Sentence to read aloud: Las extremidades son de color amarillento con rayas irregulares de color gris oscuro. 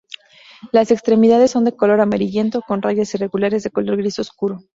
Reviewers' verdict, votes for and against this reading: accepted, 2, 0